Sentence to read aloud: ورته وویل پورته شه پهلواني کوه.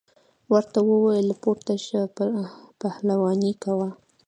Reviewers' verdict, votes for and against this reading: accepted, 2, 1